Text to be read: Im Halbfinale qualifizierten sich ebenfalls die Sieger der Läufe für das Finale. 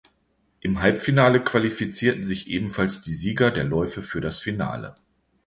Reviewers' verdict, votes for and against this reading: accepted, 2, 0